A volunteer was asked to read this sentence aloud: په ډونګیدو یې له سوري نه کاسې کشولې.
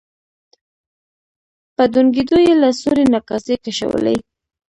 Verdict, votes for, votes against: rejected, 0, 2